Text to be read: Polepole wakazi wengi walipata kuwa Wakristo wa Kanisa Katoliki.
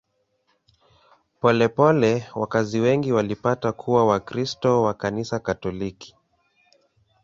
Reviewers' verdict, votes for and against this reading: accepted, 2, 0